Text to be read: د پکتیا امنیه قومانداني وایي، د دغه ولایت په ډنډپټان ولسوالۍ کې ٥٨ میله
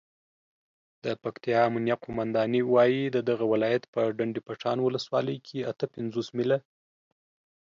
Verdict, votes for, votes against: rejected, 0, 2